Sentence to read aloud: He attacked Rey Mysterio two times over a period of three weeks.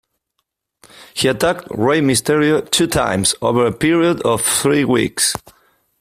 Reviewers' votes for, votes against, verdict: 2, 1, accepted